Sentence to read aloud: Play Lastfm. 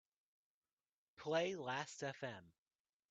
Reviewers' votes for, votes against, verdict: 2, 0, accepted